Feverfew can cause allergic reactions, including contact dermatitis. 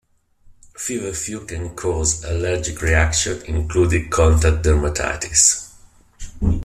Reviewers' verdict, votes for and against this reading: rejected, 0, 2